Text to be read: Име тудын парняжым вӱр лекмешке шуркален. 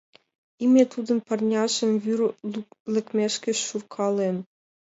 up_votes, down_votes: 2, 0